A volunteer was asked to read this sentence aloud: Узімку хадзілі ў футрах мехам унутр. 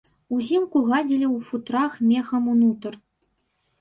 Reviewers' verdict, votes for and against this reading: rejected, 1, 2